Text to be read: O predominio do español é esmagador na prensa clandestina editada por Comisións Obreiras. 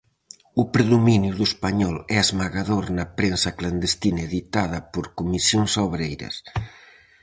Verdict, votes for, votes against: accepted, 4, 0